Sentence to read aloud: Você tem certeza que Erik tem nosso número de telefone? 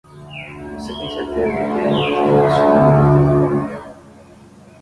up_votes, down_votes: 5, 5